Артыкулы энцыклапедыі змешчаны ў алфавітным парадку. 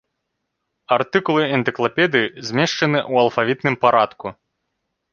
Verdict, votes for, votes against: rejected, 0, 2